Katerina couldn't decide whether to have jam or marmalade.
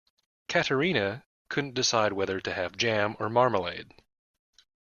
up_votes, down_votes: 2, 0